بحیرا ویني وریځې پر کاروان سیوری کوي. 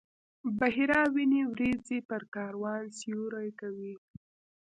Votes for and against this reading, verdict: 1, 2, rejected